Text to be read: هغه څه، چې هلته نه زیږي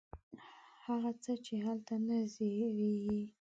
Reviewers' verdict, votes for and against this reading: rejected, 1, 2